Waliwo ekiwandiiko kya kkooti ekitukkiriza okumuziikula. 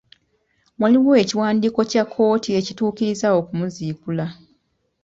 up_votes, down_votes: 2, 0